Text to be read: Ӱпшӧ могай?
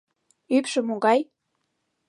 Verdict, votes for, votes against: accepted, 2, 0